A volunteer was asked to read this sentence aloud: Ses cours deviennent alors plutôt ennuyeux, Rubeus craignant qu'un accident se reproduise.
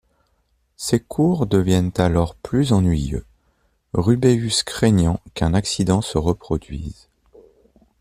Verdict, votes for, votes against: rejected, 1, 2